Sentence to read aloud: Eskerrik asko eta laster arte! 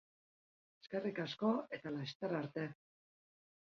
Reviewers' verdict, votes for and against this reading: accepted, 3, 0